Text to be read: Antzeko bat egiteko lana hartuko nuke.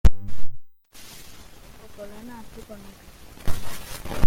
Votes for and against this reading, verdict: 0, 2, rejected